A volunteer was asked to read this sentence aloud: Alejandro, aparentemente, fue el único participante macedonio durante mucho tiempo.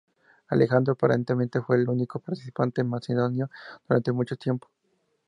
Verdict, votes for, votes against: rejected, 2, 2